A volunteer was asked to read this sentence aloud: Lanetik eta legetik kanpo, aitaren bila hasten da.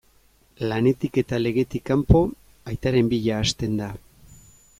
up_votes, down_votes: 2, 0